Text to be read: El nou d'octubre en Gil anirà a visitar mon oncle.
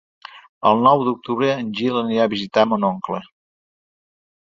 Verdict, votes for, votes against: accepted, 2, 0